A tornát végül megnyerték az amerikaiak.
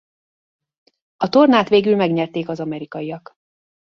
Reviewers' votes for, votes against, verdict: 2, 0, accepted